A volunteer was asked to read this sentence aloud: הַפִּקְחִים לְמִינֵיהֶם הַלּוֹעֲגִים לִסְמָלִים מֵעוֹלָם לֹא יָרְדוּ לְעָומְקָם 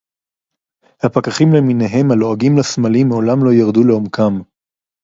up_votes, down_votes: 0, 4